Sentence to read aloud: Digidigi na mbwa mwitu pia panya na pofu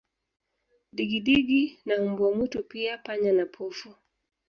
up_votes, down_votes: 2, 0